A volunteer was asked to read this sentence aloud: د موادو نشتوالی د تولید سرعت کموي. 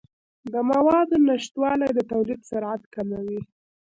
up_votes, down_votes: 1, 2